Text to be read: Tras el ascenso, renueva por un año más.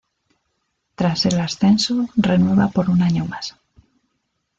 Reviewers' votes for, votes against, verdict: 2, 1, accepted